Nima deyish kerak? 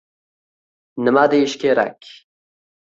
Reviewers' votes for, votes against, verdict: 2, 0, accepted